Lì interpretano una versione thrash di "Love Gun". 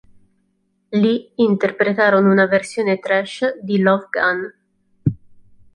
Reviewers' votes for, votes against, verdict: 1, 2, rejected